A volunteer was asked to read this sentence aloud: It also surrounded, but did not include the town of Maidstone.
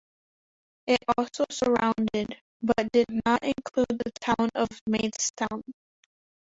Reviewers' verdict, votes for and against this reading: rejected, 0, 2